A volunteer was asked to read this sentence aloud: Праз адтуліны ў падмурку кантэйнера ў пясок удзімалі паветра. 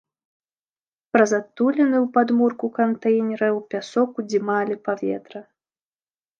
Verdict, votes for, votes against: accepted, 2, 0